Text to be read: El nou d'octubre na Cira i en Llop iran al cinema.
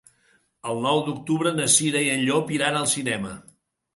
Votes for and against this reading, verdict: 3, 0, accepted